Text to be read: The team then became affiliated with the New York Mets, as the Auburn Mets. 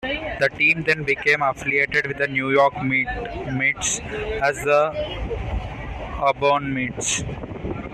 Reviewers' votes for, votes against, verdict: 1, 2, rejected